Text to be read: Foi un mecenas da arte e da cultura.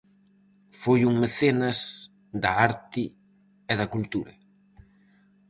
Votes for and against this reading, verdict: 4, 0, accepted